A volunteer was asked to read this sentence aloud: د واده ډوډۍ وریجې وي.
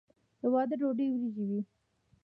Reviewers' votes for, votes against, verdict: 2, 1, accepted